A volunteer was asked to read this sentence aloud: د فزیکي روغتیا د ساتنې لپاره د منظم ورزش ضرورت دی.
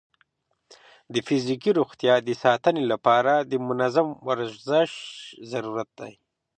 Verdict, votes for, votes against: accepted, 3, 0